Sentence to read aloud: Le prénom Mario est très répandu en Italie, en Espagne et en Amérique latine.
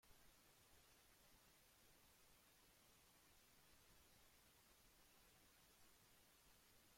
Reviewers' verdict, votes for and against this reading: rejected, 0, 2